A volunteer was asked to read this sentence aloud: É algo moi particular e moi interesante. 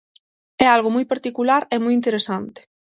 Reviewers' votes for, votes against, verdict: 6, 0, accepted